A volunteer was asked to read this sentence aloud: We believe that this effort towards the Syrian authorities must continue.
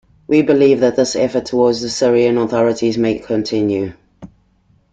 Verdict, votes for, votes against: rejected, 1, 3